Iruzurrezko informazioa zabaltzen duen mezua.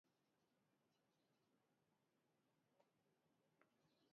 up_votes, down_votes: 0, 3